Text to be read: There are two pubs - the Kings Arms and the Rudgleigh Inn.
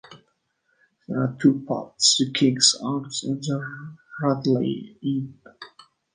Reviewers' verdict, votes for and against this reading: rejected, 1, 2